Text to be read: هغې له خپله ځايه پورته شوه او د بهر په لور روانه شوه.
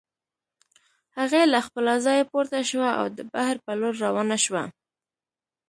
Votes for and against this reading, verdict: 2, 0, accepted